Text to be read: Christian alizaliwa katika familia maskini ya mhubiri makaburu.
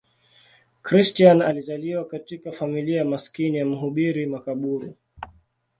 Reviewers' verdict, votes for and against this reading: accepted, 2, 0